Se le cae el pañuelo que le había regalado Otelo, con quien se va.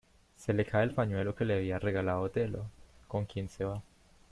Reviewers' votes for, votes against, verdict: 1, 2, rejected